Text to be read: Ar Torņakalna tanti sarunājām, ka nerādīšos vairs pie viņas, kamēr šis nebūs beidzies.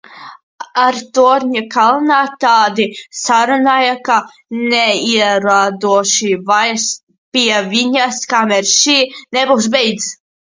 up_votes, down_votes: 0, 2